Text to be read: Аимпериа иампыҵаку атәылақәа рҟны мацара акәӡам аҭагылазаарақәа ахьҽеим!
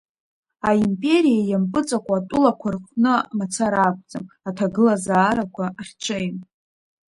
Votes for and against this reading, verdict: 0, 2, rejected